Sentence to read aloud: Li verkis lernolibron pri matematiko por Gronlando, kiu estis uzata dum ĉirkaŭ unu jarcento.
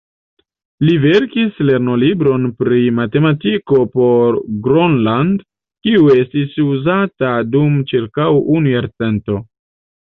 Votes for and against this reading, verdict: 1, 3, rejected